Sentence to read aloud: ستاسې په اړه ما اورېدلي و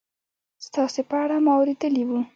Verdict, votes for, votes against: accepted, 2, 0